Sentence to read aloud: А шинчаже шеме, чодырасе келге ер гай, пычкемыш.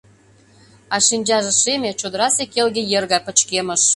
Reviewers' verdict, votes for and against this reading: accepted, 2, 0